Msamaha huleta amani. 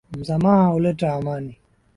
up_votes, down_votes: 2, 0